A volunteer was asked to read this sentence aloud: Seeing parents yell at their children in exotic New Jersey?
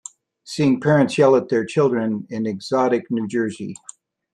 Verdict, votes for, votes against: accepted, 2, 0